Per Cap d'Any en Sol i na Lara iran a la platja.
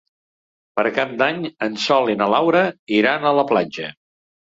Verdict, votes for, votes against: rejected, 1, 2